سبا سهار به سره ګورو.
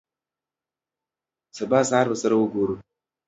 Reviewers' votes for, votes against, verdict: 2, 0, accepted